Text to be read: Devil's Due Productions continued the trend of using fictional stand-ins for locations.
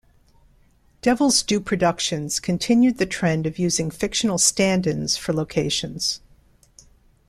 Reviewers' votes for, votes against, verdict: 2, 0, accepted